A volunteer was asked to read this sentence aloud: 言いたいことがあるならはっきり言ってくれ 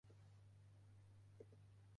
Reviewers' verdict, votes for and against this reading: rejected, 0, 2